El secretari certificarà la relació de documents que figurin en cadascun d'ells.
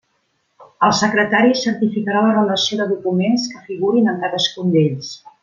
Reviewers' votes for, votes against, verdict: 1, 2, rejected